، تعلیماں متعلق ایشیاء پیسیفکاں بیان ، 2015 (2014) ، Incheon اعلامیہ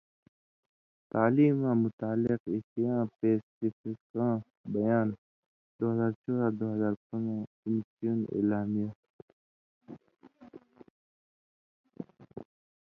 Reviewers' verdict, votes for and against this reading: rejected, 0, 2